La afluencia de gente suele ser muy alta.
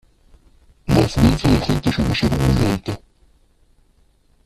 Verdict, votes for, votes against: rejected, 0, 2